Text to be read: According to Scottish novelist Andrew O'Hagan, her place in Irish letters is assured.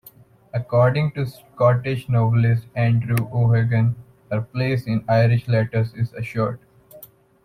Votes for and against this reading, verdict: 2, 0, accepted